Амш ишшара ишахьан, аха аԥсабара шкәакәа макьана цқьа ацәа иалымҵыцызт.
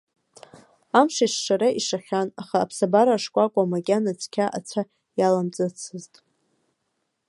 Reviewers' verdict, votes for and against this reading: rejected, 1, 2